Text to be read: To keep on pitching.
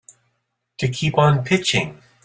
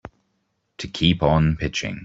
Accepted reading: first